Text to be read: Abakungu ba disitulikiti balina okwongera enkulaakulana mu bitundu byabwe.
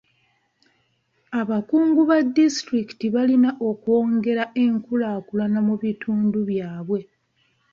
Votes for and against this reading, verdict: 2, 0, accepted